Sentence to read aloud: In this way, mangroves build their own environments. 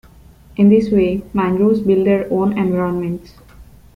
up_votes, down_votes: 2, 0